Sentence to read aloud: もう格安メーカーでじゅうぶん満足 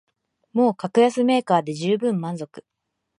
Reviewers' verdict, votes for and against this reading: accepted, 2, 0